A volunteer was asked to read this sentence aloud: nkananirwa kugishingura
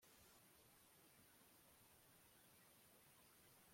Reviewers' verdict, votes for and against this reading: rejected, 1, 2